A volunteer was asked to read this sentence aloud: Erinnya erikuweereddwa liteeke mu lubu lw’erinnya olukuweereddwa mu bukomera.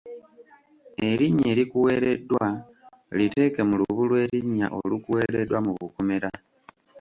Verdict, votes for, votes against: rejected, 0, 2